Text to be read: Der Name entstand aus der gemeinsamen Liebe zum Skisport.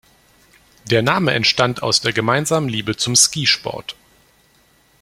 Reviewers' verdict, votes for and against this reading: rejected, 0, 2